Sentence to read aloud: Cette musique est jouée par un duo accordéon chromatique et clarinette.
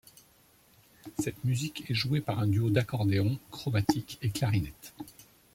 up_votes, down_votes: 0, 2